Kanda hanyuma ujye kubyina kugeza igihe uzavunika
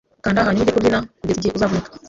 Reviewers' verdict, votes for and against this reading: rejected, 0, 2